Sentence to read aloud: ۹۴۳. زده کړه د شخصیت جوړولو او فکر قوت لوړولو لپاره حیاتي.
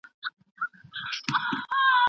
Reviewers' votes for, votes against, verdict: 0, 2, rejected